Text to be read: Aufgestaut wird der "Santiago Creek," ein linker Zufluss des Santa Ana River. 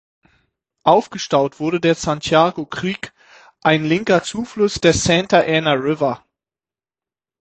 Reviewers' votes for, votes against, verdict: 3, 6, rejected